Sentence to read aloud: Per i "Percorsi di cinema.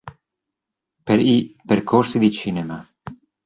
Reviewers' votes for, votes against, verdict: 2, 0, accepted